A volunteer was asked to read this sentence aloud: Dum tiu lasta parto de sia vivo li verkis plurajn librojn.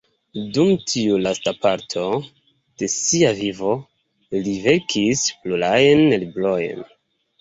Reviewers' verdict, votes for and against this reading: accepted, 2, 0